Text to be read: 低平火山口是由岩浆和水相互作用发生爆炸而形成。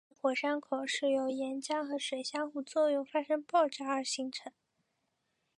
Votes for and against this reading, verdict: 0, 2, rejected